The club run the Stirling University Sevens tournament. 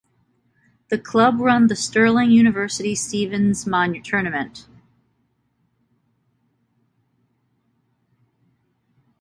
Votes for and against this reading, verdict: 0, 2, rejected